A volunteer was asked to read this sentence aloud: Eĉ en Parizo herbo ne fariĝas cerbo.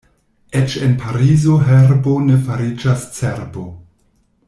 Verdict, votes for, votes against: accepted, 2, 0